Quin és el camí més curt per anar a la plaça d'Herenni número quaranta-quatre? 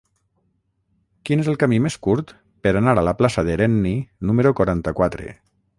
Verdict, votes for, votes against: rejected, 3, 3